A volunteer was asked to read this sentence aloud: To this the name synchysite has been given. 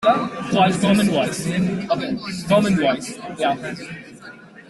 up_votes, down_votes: 0, 2